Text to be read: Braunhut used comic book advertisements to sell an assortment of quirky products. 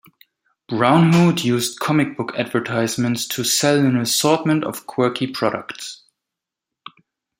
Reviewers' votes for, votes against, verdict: 2, 0, accepted